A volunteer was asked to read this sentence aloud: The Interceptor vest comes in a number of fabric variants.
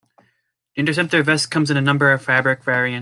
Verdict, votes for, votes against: accepted, 2, 1